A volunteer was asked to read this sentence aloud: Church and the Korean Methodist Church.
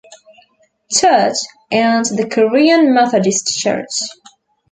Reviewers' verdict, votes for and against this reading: accepted, 2, 0